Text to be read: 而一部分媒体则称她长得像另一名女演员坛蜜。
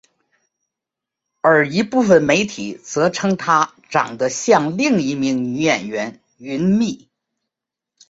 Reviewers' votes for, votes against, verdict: 5, 1, accepted